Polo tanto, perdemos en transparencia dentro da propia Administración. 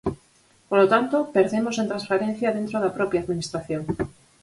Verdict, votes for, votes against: accepted, 4, 0